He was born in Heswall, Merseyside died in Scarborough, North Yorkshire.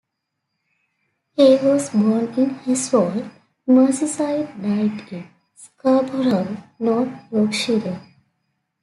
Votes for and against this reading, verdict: 2, 1, accepted